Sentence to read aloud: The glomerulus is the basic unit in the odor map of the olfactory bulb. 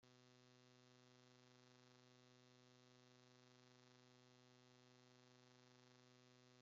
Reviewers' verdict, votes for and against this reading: rejected, 0, 2